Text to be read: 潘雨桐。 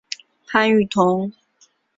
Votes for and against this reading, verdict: 4, 0, accepted